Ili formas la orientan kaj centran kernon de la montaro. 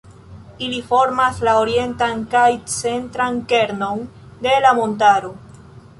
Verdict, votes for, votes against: accepted, 2, 0